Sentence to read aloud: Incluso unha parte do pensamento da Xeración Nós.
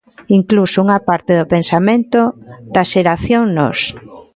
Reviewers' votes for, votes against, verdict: 2, 0, accepted